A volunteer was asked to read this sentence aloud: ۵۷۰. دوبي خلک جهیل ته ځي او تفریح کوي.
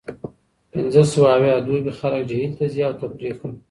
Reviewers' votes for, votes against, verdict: 0, 2, rejected